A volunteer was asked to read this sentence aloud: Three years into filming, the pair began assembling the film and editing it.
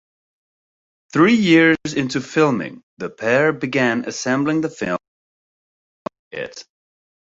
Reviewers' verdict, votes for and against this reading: accepted, 2, 0